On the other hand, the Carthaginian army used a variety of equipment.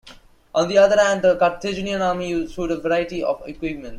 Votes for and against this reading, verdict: 2, 1, accepted